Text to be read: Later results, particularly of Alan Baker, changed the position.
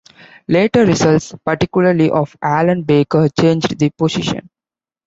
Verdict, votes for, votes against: accepted, 3, 0